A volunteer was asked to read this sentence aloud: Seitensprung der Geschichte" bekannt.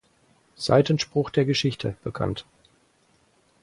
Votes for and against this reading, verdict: 0, 4, rejected